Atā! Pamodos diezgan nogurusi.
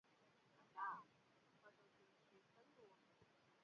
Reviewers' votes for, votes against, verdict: 0, 2, rejected